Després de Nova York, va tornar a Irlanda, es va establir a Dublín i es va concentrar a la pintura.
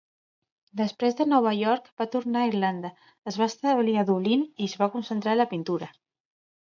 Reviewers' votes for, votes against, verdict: 2, 0, accepted